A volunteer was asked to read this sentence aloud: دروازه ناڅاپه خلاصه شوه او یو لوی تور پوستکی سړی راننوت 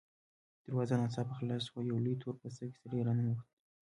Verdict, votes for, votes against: rejected, 1, 2